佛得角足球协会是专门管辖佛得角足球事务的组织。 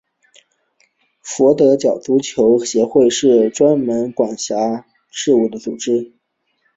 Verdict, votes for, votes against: rejected, 0, 3